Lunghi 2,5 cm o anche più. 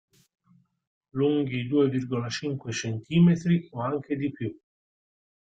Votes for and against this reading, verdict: 0, 2, rejected